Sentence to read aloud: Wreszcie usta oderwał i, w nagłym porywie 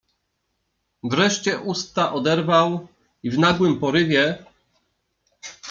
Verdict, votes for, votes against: accepted, 2, 0